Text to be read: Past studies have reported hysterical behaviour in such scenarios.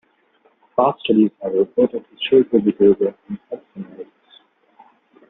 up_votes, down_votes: 0, 2